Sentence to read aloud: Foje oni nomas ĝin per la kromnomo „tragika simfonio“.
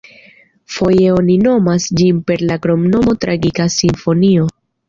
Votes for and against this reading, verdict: 2, 0, accepted